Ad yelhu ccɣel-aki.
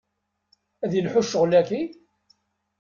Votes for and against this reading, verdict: 1, 2, rejected